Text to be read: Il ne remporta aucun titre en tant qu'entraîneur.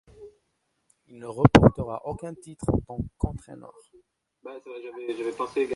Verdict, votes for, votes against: rejected, 0, 2